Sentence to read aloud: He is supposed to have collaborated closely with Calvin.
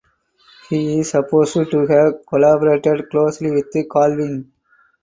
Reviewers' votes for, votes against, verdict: 2, 4, rejected